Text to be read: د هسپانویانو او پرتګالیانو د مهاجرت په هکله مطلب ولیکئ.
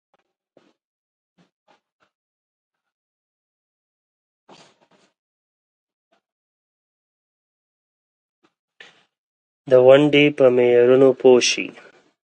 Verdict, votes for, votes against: rejected, 0, 4